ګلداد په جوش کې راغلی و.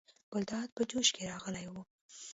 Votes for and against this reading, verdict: 0, 2, rejected